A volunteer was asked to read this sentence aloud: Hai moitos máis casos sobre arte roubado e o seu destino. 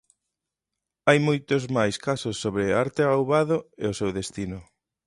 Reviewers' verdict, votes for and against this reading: rejected, 1, 2